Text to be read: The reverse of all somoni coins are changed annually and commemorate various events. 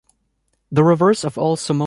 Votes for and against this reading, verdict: 0, 2, rejected